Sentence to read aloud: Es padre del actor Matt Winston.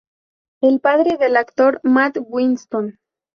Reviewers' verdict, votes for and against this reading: rejected, 0, 2